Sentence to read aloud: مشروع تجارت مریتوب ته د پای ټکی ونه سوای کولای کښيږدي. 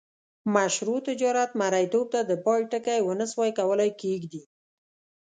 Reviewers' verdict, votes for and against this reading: accepted, 3, 0